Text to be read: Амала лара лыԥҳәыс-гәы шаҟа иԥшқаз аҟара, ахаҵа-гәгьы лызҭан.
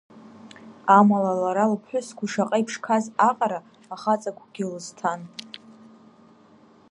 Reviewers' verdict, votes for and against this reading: rejected, 1, 2